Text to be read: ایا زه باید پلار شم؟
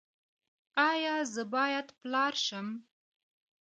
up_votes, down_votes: 2, 0